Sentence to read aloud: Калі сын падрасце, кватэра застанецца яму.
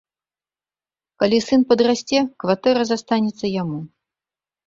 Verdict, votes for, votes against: accepted, 3, 0